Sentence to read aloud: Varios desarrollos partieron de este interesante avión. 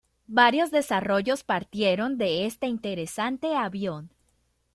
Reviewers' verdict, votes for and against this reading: accepted, 2, 0